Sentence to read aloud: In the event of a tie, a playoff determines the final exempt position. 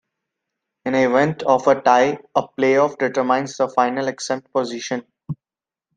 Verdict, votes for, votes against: accepted, 2, 0